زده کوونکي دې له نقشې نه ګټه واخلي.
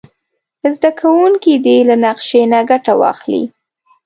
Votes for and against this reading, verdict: 2, 0, accepted